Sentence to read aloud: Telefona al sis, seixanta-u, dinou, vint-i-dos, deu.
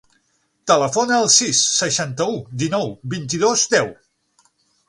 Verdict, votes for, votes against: accepted, 9, 0